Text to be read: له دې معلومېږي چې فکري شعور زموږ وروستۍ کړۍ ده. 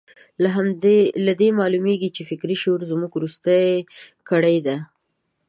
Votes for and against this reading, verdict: 0, 2, rejected